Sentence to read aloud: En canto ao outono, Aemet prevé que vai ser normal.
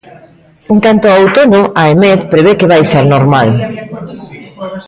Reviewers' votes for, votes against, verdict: 0, 2, rejected